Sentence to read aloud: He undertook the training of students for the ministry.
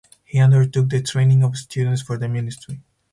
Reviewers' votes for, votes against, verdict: 4, 0, accepted